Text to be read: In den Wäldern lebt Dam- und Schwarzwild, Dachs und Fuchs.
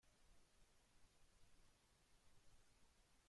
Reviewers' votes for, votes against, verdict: 0, 2, rejected